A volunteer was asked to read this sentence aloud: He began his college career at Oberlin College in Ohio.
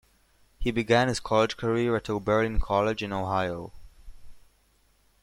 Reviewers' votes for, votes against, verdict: 2, 0, accepted